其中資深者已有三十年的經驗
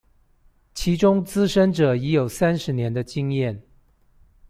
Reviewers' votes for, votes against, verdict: 2, 0, accepted